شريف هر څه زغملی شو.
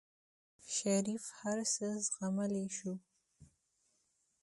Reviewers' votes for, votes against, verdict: 2, 0, accepted